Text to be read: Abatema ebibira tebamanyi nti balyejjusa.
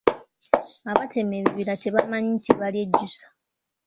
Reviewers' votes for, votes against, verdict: 2, 0, accepted